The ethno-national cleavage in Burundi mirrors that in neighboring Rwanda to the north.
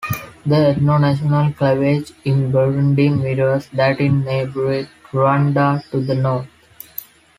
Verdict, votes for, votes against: rejected, 0, 2